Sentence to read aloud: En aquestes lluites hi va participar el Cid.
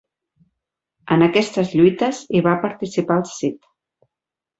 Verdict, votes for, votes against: accepted, 4, 0